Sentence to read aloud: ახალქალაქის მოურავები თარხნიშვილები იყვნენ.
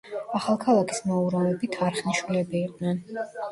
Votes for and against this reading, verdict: 2, 0, accepted